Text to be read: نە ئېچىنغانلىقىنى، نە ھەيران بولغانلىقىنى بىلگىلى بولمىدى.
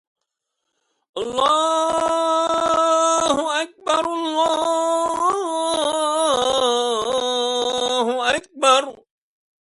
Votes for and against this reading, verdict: 0, 2, rejected